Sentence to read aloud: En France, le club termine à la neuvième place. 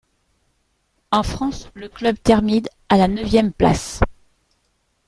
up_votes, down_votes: 2, 0